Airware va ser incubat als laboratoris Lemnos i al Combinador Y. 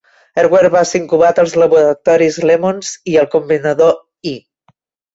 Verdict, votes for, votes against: rejected, 0, 2